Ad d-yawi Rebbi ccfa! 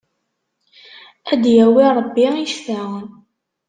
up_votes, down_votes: 0, 2